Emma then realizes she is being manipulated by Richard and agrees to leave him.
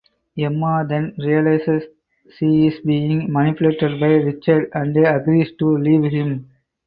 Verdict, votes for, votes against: rejected, 0, 4